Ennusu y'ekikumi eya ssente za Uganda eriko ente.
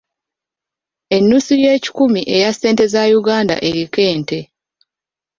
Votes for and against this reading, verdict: 2, 0, accepted